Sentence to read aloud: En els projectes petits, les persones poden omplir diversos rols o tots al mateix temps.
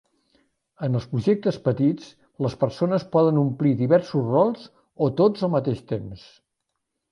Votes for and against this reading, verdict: 2, 0, accepted